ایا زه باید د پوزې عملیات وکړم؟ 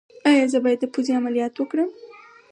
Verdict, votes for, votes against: accepted, 4, 0